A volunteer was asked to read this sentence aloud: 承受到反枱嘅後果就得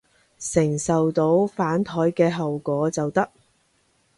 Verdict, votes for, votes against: accepted, 2, 0